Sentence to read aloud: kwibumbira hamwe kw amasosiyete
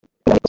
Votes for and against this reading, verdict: 1, 2, rejected